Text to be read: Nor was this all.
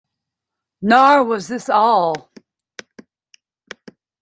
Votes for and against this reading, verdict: 1, 2, rejected